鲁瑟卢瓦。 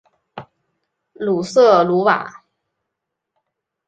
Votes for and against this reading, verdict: 2, 0, accepted